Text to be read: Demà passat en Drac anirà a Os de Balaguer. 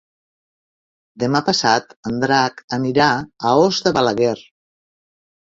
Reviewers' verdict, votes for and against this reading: accepted, 5, 0